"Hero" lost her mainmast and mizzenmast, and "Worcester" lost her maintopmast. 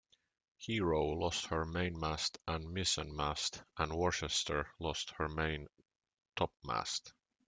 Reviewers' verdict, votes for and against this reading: accepted, 2, 1